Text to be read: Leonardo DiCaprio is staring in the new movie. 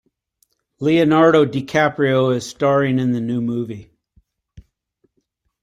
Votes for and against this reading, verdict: 2, 0, accepted